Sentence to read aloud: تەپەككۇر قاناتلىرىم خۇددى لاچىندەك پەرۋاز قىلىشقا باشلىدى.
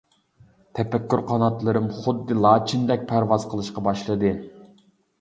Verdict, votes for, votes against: accepted, 2, 0